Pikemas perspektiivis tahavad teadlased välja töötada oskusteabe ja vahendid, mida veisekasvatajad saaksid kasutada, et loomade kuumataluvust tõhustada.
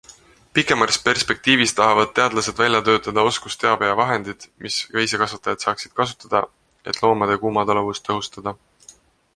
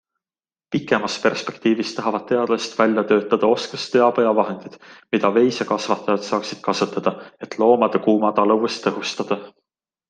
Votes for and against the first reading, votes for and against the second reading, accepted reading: 1, 2, 2, 0, second